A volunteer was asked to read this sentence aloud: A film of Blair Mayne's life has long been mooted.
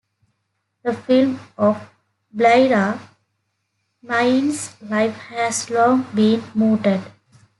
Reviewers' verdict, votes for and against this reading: rejected, 0, 2